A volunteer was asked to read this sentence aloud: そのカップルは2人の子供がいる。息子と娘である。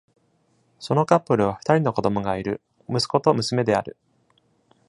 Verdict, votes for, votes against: rejected, 0, 2